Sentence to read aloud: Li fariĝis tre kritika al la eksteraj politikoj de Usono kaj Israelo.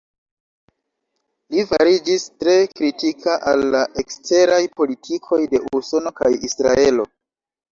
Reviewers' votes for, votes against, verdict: 2, 1, accepted